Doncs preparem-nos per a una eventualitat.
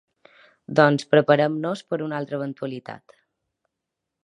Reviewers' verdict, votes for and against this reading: rejected, 0, 2